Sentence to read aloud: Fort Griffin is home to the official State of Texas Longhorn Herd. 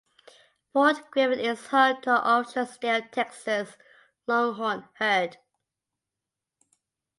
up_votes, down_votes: 0, 2